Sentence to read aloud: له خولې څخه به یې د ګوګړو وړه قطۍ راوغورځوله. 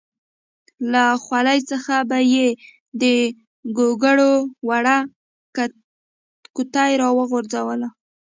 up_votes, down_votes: 1, 2